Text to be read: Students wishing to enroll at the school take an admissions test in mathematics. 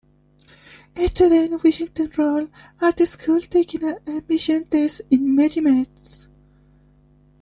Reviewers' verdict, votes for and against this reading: rejected, 0, 2